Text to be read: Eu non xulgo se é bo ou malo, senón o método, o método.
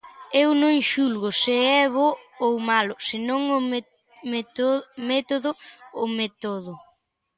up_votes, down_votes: 0, 2